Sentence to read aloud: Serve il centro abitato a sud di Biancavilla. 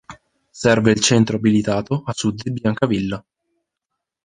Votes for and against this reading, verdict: 0, 3, rejected